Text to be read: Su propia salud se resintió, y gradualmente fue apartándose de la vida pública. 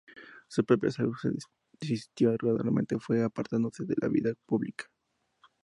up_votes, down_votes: 0, 2